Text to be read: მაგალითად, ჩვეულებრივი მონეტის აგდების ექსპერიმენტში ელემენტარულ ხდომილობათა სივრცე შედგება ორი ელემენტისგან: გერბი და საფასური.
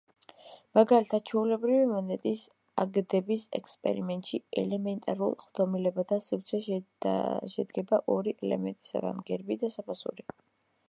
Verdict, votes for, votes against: accepted, 2, 0